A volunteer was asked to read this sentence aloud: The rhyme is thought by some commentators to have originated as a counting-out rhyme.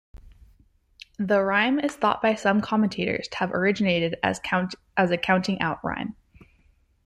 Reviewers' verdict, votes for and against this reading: rejected, 0, 2